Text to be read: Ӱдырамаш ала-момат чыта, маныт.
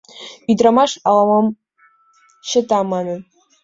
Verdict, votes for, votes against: rejected, 1, 2